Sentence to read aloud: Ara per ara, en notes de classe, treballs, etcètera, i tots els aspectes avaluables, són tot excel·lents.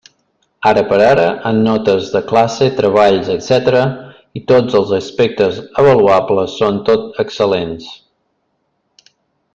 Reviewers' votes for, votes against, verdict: 2, 0, accepted